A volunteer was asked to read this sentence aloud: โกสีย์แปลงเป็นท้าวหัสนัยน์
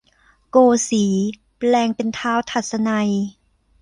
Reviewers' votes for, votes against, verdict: 0, 2, rejected